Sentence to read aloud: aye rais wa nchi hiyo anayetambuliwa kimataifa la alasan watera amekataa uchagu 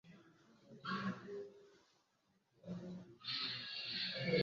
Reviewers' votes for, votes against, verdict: 0, 2, rejected